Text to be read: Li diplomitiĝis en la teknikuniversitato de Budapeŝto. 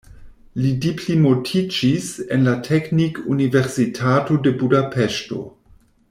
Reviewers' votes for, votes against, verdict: 1, 2, rejected